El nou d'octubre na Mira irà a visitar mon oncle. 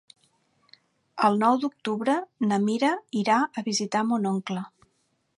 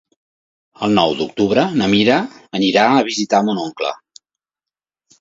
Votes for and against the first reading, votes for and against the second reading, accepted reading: 3, 0, 1, 2, first